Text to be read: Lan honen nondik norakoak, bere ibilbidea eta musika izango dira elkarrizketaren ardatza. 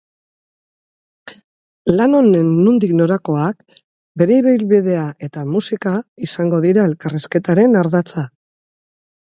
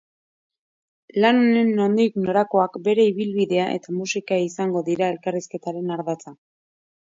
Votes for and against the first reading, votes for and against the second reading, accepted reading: 4, 0, 1, 2, first